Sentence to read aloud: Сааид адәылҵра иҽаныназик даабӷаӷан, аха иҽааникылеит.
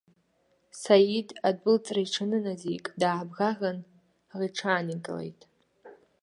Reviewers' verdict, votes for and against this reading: rejected, 1, 2